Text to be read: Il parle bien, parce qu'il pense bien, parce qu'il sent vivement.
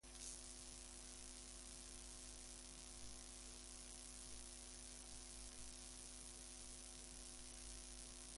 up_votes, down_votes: 0, 2